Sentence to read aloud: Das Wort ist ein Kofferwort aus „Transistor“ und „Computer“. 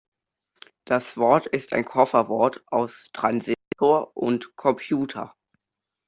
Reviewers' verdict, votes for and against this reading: rejected, 1, 2